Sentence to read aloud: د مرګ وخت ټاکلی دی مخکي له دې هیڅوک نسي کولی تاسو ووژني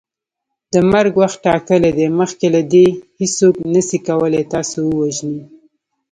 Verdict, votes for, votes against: accepted, 3, 1